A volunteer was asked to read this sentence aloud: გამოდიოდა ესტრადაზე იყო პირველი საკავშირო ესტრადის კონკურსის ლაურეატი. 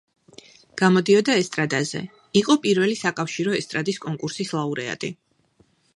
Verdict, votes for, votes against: accepted, 2, 0